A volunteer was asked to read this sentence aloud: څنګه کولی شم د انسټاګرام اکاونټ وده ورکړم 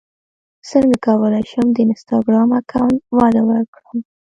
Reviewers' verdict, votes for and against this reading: accepted, 2, 1